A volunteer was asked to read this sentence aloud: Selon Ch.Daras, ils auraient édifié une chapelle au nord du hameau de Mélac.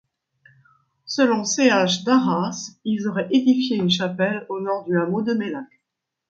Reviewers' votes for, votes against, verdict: 1, 2, rejected